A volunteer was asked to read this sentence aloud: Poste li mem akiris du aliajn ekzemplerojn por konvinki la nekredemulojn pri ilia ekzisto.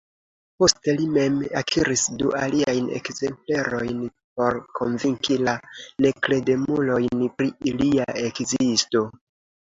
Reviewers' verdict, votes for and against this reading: accepted, 2, 0